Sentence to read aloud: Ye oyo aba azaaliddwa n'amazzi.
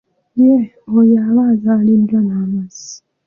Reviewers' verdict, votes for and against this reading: rejected, 1, 2